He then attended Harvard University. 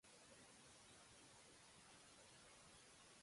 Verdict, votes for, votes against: rejected, 0, 2